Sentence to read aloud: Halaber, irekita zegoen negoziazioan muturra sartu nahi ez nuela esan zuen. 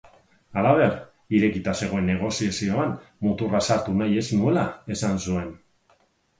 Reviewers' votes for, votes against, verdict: 4, 0, accepted